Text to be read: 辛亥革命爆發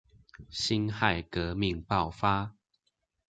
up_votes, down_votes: 2, 0